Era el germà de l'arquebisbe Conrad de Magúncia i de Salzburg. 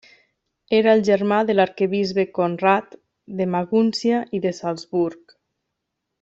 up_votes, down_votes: 1, 2